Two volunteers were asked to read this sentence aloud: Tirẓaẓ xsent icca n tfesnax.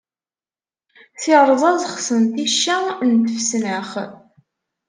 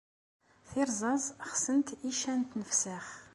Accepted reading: second